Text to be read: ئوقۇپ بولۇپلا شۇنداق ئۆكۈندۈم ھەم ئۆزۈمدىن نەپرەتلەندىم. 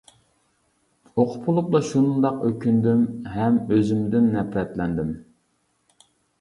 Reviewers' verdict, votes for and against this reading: accepted, 2, 0